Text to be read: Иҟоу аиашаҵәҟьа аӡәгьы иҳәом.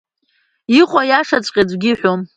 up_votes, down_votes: 2, 0